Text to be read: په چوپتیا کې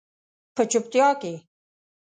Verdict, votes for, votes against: accepted, 2, 0